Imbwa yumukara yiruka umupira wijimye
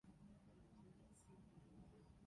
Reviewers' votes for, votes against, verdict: 0, 2, rejected